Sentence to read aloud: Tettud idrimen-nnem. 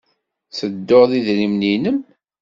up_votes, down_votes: 1, 2